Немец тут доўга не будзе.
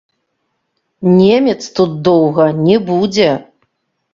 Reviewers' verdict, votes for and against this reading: rejected, 0, 3